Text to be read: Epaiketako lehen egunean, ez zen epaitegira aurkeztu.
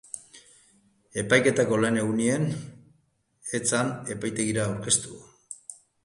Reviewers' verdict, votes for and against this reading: accepted, 2, 0